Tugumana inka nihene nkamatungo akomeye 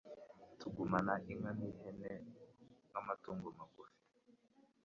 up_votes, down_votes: 1, 2